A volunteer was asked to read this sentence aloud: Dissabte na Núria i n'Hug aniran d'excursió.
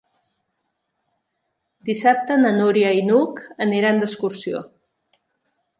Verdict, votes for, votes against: accepted, 3, 0